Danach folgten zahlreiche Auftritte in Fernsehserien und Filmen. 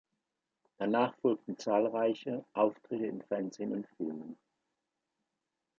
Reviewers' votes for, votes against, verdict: 0, 2, rejected